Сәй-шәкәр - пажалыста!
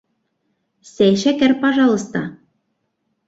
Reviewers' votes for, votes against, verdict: 1, 2, rejected